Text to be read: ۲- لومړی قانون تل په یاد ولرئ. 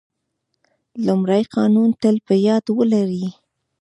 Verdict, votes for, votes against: rejected, 0, 2